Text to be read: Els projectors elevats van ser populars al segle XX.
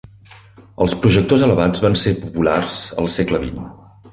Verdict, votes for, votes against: accepted, 2, 0